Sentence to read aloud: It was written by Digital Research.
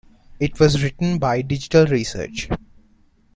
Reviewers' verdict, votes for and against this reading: accepted, 2, 0